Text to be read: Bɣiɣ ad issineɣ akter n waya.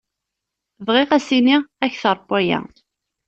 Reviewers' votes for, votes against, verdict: 0, 2, rejected